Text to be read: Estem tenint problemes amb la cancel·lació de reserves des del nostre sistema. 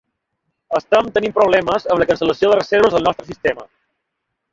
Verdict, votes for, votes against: rejected, 0, 2